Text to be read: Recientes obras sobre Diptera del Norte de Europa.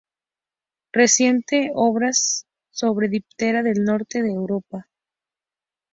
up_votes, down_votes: 2, 0